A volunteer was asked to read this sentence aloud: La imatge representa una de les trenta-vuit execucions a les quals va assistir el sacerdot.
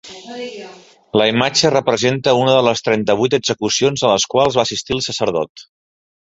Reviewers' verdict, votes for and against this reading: accepted, 2, 0